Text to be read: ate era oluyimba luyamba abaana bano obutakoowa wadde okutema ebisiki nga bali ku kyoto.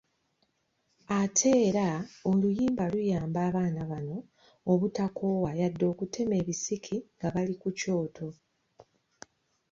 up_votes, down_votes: 2, 0